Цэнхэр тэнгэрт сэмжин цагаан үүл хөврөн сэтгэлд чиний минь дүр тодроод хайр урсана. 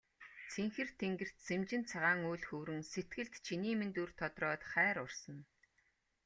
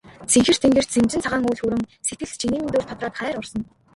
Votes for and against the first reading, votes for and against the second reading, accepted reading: 2, 0, 0, 2, first